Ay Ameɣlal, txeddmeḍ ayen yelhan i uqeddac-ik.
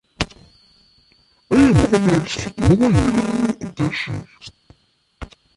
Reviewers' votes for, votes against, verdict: 0, 2, rejected